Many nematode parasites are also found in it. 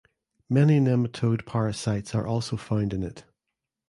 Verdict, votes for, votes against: rejected, 1, 2